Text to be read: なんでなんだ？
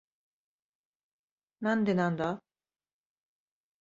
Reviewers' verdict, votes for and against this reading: accepted, 3, 0